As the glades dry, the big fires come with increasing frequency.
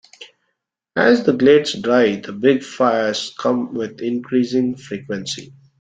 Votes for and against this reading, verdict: 2, 0, accepted